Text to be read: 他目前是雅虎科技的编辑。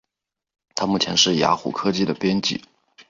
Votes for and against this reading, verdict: 1, 2, rejected